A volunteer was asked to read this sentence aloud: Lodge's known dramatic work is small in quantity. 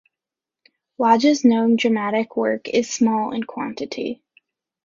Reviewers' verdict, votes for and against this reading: accepted, 2, 0